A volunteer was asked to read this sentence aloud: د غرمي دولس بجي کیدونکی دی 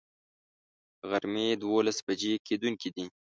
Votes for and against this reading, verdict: 0, 2, rejected